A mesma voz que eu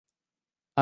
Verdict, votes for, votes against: rejected, 0, 2